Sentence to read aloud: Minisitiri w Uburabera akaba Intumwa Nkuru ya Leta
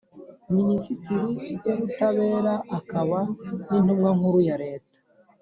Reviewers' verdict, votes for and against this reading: rejected, 1, 2